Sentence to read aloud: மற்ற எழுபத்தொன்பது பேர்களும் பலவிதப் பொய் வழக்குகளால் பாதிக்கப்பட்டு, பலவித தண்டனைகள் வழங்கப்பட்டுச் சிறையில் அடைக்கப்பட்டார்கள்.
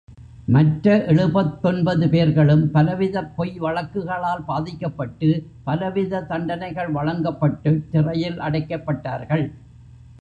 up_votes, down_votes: 1, 2